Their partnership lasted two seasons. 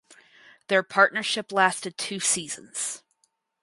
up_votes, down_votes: 2, 0